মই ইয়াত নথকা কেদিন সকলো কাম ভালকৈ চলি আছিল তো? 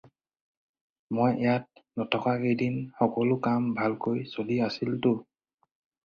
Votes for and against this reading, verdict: 2, 0, accepted